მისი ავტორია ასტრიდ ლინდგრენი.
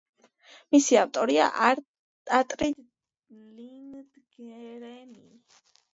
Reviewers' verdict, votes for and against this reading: rejected, 0, 2